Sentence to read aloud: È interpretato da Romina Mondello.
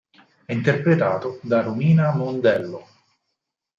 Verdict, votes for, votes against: accepted, 4, 0